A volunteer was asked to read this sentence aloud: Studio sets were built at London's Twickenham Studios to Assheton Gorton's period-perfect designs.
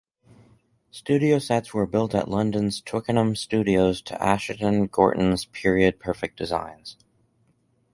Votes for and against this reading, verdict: 2, 2, rejected